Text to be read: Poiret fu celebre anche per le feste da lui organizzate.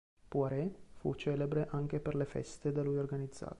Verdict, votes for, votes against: rejected, 1, 2